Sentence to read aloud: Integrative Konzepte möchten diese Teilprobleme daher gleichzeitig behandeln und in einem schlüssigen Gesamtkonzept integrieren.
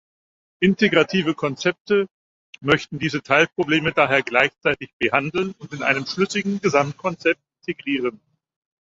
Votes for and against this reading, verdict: 4, 0, accepted